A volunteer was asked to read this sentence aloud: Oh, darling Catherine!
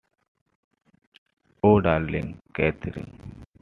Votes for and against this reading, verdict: 2, 0, accepted